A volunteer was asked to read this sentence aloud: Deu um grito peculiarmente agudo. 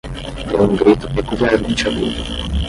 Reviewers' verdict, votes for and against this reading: rejected, 5, 5